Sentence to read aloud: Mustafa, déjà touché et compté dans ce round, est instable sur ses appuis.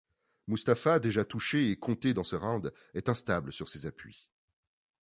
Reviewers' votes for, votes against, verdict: 2, 0, accepted